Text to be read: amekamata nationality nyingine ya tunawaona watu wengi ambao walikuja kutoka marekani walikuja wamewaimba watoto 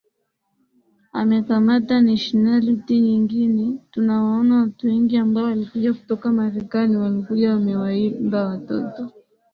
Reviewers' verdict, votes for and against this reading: accepted, 14, 6